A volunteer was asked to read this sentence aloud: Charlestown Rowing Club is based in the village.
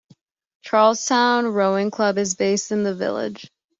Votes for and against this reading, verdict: 3, 0, accepted